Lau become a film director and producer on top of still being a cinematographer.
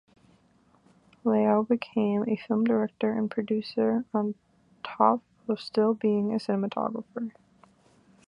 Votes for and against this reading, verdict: 1, 2, rejected